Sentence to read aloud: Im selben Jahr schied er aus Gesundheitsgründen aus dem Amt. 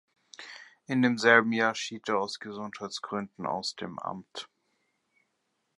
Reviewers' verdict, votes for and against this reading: rejected, 0, 2